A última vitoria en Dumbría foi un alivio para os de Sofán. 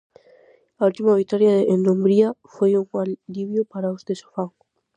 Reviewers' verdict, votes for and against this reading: rejected, 2, 2